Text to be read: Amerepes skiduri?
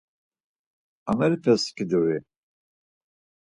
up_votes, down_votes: 4, 0